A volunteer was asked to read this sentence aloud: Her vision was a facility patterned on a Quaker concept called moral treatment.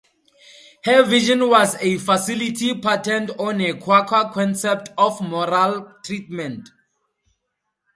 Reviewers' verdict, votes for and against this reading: rejected, 0, 2